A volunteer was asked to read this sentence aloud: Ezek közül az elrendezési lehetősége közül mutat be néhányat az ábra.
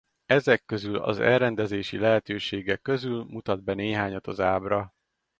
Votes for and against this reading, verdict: 2, 2, rejected